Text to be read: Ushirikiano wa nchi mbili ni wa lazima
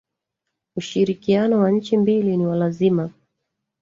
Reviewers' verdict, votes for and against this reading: rejected, 1, 2